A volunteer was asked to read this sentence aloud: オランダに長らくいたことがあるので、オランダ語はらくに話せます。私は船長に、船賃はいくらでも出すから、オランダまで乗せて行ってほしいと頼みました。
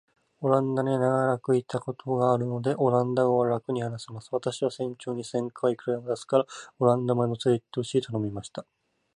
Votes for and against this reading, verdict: 4, 0, accepted